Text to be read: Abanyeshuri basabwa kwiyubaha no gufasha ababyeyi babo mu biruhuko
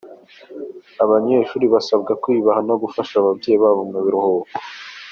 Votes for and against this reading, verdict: 2, 0, accepted